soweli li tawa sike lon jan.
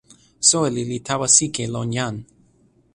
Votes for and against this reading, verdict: 2, 0, accepted